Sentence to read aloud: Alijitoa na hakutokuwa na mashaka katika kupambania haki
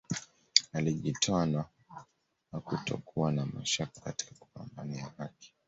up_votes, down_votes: 2, 0